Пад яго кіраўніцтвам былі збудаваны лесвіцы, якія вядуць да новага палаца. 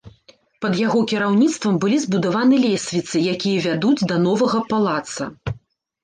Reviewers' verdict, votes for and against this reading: accepted, 2, 0